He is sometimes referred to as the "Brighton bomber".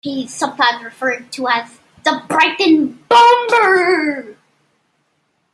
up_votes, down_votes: 0, 2